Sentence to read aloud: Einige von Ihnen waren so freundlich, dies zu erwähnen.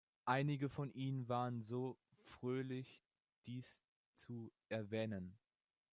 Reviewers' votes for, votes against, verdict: 0, 2, rejected